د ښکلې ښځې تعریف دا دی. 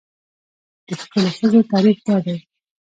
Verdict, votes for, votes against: accepted, 2, 1